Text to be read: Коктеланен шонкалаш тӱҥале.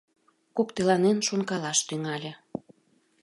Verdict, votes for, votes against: accepted, 2, 0